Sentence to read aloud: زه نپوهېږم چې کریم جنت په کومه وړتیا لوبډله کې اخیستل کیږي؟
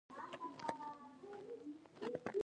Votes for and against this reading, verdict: 1, 2, rejected